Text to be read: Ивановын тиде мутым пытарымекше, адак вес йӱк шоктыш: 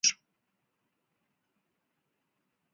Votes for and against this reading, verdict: 1, 2, rejected